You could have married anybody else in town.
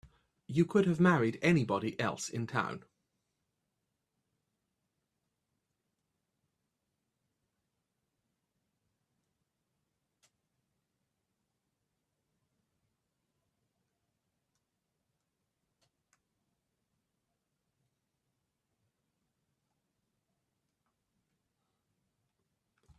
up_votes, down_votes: 0, 2